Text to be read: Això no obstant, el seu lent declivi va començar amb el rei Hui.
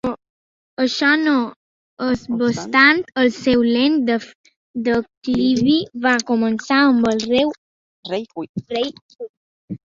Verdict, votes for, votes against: rejected, 0, 2